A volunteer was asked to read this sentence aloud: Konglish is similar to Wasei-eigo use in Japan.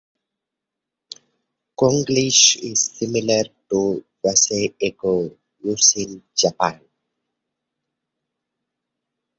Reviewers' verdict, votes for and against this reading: accepted, 2, 0